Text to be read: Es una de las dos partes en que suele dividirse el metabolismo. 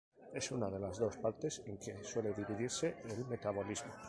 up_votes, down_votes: 0, 2